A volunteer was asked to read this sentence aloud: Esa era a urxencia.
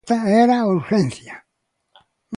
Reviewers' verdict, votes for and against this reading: rejected, 0, 2